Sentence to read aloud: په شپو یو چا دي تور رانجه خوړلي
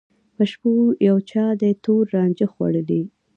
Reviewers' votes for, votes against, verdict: 0, 2, rejected